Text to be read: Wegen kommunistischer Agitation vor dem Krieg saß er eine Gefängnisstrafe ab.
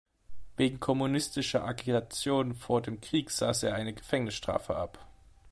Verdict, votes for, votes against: rejected, 0, 2